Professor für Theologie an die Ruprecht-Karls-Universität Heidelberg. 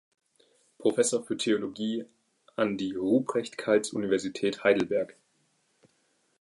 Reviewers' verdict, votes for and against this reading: accepted, 2, 0